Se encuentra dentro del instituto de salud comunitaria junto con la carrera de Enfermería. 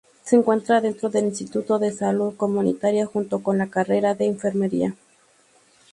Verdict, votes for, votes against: accepted, 2, 0